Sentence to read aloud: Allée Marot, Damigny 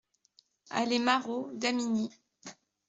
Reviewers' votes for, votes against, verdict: 2, 0, accepted